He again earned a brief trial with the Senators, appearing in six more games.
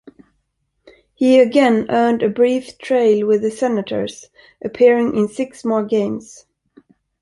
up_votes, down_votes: 1, 2